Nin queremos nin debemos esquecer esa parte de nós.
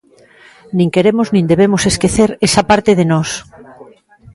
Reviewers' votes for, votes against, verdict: 2, 0, accepted